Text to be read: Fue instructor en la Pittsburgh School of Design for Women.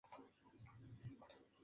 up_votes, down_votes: 0, 2